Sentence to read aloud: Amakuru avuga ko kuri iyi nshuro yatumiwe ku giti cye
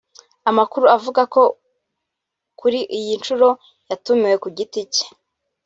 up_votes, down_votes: 1, 2